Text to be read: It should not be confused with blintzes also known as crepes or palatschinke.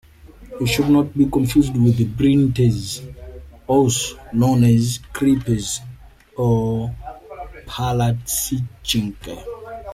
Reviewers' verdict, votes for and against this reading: rejected, 0, 2